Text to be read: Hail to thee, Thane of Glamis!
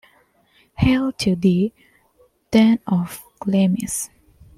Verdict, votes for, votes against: rejected, 1, 2